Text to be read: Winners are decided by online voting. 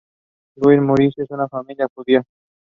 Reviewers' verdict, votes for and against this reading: rejected, 0, 2